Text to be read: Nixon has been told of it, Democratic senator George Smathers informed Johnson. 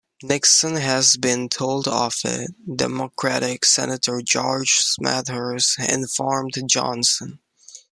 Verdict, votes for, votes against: accepted, 2, 0